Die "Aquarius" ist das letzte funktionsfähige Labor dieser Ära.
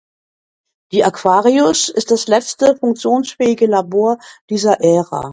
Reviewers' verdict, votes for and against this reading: accepted, 2, 0